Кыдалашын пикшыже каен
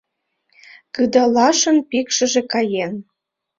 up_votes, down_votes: 2, 0